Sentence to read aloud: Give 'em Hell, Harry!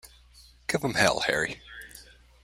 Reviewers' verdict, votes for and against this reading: rejected, 1, 2